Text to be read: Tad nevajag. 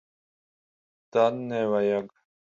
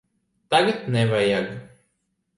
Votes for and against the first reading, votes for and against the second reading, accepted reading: 10, 5, 0, 2, first